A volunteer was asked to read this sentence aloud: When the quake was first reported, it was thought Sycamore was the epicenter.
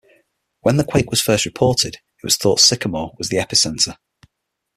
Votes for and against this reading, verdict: 6, 0, accepted